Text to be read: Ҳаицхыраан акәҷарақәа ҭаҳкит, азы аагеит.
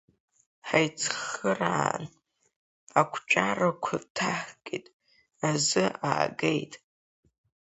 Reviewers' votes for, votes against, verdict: 0, 2, rejected